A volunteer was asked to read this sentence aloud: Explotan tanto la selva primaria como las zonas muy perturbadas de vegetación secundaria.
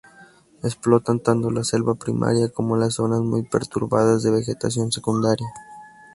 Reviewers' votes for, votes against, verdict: 2, 0, accepted